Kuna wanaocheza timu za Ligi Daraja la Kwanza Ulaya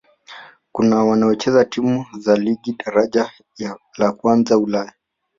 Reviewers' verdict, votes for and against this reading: rejected, 1, 2